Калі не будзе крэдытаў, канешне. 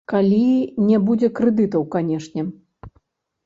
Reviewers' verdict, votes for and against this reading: rejected, 1, 2